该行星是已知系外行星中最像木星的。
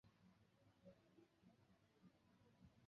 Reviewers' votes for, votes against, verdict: 0, 3, rejected